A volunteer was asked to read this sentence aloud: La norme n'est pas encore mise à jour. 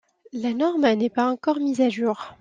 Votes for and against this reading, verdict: 2, 0, accepted